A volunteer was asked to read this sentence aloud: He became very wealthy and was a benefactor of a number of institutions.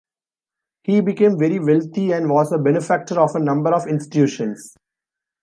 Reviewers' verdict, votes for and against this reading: rejected, 1, 2